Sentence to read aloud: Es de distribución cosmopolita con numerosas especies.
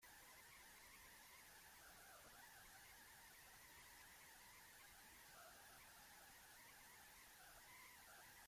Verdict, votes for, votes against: rejected, 0, 2